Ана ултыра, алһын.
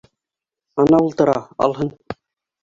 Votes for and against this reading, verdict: 2, 1, accepted